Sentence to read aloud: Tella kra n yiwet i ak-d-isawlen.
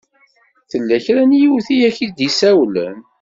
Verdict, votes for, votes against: accepted, 2, 0